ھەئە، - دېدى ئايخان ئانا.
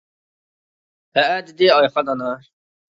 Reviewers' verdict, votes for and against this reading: accepted, 2, 0